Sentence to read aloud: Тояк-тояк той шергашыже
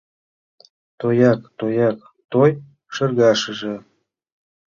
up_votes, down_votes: 2, 0